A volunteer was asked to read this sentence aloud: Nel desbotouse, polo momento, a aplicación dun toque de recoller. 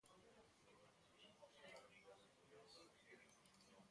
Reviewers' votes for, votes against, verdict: 0, 2, rejected